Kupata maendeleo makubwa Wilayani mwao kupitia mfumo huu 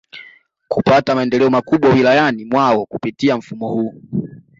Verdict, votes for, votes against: accepted, 2, 1